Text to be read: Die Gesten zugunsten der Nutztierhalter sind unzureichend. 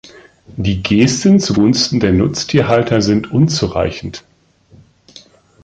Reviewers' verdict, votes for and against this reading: accepted, 2, 0